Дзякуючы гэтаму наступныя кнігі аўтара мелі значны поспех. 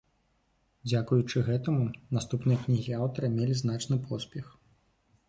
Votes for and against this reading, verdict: 2, 0, accepted